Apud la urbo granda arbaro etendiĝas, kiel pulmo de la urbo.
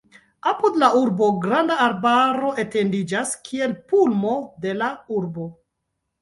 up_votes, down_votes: 1, 2